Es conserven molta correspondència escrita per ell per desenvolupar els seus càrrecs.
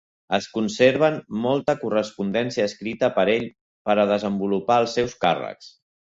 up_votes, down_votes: 2, 1